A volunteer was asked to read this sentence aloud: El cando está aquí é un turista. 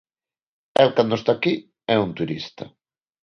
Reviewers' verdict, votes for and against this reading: accepted, 2, 0